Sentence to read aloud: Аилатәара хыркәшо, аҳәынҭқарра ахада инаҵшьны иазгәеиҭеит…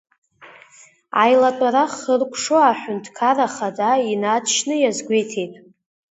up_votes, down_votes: 2, 1